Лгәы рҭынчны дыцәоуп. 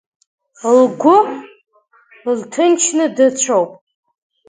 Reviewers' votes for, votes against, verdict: 1, 2, rejected